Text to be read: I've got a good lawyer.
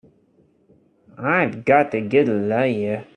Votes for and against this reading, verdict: 0, 3, rejected